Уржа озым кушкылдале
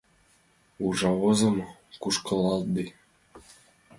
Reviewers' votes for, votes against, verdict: 0, 2, rejected